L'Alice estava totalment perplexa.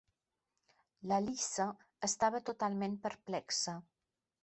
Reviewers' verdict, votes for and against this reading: rejected, 1, 2